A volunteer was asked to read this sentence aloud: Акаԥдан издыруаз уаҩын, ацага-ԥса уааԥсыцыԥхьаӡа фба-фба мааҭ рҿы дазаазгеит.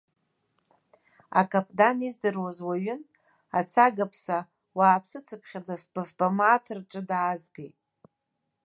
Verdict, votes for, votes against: rejected, 1, 2